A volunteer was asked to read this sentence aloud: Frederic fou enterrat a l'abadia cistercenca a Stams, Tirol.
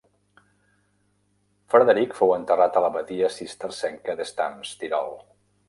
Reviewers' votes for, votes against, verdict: 0, 2, rejected